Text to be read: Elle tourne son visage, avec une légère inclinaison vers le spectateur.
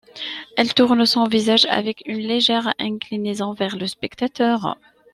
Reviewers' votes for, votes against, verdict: 2, 0, accepted